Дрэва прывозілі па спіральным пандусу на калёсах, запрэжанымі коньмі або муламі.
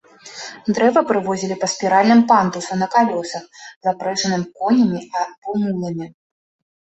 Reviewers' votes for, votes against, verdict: 1, 2, rejected